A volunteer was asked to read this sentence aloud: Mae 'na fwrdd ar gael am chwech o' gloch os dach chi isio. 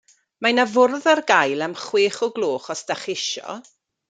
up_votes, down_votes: 2, 0